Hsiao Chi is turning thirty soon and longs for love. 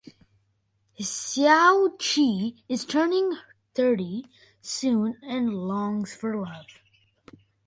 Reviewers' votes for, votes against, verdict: 2, 0, accepted